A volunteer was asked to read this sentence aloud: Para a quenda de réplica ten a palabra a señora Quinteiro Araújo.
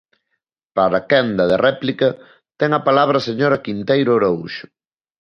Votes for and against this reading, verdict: 0, 2, rejected